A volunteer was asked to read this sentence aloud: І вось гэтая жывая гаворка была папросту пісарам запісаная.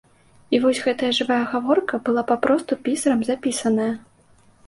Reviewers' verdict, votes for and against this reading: accepted, 2, 0